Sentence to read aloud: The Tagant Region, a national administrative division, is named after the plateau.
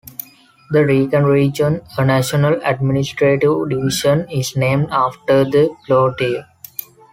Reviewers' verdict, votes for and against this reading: rejected, 0, 2